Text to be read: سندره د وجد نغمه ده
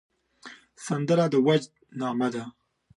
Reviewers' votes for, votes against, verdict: 3, 0, accepted